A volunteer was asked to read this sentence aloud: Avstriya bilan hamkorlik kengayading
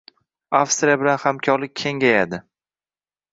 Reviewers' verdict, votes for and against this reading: accepted, 2, 0